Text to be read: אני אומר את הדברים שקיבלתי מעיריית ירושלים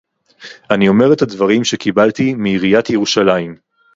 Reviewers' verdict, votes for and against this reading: accepted, 2, 0